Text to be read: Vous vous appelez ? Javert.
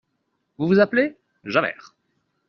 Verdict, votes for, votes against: accepted, 2, 0